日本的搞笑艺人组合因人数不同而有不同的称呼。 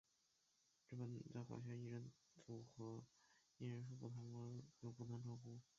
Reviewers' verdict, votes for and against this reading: rejected, 2, 5